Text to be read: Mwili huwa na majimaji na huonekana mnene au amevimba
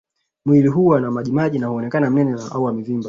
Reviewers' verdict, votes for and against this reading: rejected, 2, 3